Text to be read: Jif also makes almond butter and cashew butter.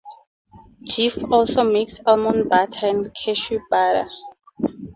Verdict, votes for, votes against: accepted, 4, 0